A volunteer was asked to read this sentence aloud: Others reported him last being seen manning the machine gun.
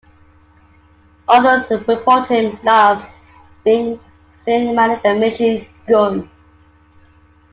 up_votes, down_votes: 0, 2